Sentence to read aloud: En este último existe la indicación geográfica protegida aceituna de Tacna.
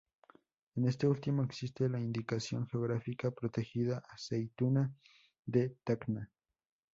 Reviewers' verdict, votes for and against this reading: accepted, 2, 0